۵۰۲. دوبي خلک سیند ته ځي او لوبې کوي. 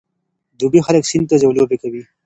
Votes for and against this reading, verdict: 0, 2, rejected